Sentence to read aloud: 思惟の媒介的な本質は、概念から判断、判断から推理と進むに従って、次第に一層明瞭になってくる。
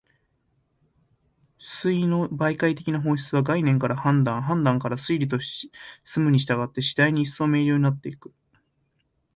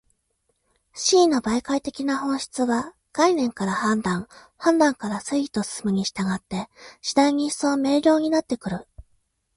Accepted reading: second